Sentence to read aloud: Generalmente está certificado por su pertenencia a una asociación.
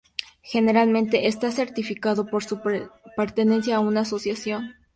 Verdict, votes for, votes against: rejected, 0, 2